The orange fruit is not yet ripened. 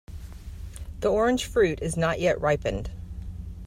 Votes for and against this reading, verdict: 4, 0, accepted